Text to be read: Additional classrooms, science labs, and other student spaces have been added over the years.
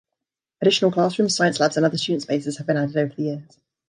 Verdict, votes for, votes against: accepted, 2, 0